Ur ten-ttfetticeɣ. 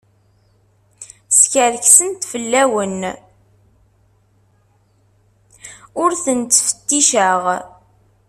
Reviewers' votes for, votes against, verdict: 0, 2, rejected